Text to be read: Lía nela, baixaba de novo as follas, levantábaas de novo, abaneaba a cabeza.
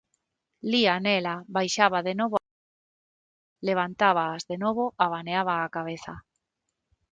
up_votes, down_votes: 0, 6